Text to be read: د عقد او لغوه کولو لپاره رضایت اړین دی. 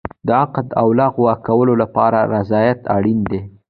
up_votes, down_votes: 2, 0